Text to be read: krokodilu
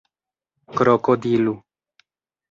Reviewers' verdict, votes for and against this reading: accepted, 2, 0